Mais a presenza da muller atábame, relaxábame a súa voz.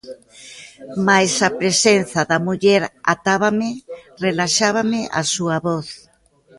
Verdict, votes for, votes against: accepted, 2, 0